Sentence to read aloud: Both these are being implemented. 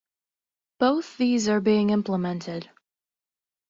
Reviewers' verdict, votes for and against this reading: accepted, 2, 0